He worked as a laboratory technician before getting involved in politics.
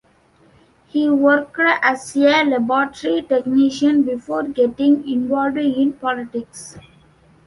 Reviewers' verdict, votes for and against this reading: rejected, 1, 2